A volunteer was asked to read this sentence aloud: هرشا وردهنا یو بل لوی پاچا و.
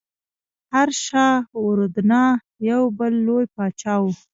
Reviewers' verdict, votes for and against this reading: rejected, 0, 2